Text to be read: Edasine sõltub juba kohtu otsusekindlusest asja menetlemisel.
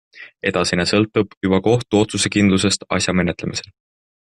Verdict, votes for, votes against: accepted, 2, 0